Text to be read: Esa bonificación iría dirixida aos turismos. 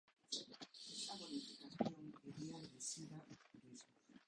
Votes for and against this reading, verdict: 0, 2, rejected